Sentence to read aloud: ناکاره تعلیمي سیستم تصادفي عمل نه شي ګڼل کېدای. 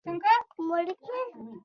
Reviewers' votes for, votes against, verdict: 0, 2, rejected